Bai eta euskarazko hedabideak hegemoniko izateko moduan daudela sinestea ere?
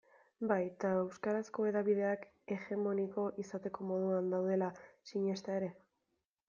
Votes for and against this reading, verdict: 0, 2, rejected